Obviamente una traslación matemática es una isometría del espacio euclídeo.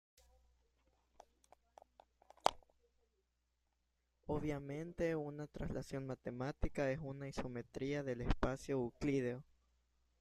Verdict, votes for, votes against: rejected, 1, 2